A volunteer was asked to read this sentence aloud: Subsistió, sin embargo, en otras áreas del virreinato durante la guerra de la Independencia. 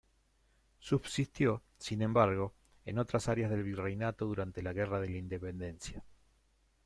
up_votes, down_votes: 2, 0